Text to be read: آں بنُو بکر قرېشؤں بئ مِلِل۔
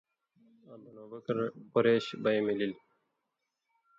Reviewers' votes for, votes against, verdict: 1, 2, rejected